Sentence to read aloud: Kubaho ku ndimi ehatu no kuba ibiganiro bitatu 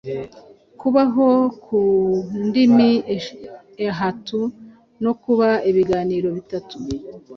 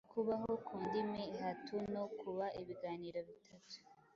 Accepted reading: second